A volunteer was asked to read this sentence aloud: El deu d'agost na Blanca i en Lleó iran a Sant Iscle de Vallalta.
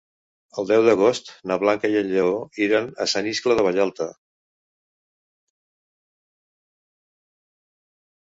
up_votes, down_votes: 4, 0